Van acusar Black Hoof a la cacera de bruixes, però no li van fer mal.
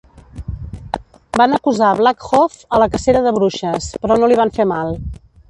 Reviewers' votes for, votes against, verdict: 1, 2, rejected